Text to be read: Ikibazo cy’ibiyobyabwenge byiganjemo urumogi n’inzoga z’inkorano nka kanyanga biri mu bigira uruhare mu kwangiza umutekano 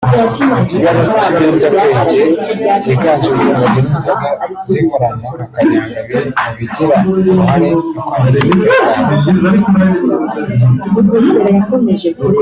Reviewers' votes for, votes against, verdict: 0, 2, rejected